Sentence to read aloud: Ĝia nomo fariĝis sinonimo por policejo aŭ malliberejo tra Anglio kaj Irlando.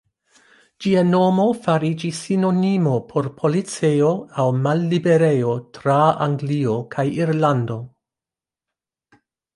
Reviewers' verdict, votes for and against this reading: accepted, 2, 0